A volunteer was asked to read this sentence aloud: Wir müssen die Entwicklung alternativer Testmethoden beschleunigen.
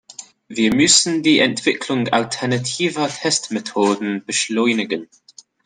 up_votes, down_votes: 2, 0